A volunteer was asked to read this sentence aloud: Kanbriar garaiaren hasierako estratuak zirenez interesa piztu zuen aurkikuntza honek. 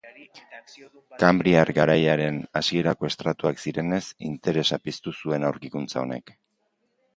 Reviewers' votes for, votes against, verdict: 2, 0, accepted